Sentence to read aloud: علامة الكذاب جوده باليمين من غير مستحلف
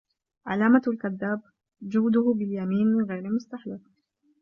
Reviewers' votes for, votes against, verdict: 2, 1, accepted